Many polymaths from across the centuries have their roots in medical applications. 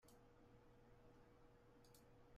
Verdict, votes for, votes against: rejected, 1, 2